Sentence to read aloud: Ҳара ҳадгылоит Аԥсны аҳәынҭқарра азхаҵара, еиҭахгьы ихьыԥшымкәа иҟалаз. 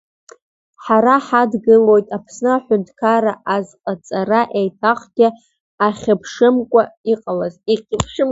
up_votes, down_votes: 1, 3